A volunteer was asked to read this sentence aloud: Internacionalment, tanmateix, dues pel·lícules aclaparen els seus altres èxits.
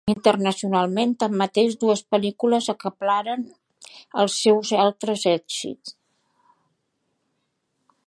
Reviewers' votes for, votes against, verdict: 0, 2, rejected